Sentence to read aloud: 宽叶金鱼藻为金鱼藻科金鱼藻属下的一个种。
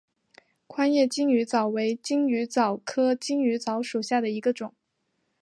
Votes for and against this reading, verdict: 6, 0, accepted